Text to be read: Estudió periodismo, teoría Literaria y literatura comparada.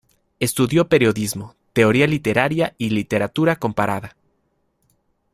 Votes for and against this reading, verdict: 2, 0, accepted